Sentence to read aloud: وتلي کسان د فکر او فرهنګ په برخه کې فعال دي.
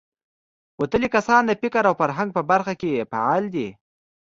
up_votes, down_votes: 2, 0